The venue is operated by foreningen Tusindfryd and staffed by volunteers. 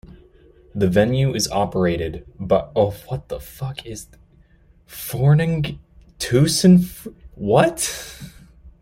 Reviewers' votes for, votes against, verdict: 0, 2, rejected